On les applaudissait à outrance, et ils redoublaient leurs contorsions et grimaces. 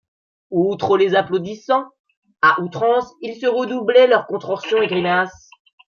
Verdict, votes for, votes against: rejected, 1, 2